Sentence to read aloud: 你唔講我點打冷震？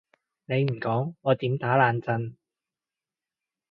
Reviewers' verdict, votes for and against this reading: accepted, 2, 0